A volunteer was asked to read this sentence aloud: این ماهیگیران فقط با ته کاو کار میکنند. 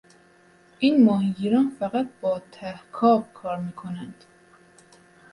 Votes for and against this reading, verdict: 2, 0, accepted